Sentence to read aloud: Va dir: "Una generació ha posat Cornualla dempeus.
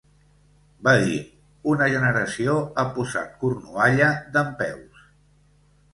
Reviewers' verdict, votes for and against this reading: accepted, 2, 0